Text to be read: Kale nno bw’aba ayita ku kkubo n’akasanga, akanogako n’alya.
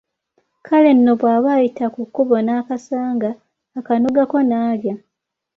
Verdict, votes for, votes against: accepted, 2, 0